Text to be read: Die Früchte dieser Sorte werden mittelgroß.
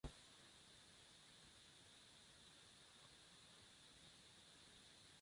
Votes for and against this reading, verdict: 0, 2, rejected